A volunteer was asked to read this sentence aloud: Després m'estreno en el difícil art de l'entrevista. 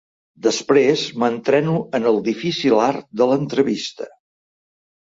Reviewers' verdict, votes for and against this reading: rejected, 0, 3